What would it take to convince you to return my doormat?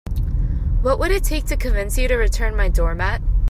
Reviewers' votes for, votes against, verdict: 2, 0, accepted